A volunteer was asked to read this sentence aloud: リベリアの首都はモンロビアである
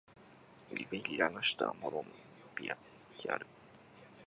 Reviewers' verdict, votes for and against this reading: rejected, 1, 2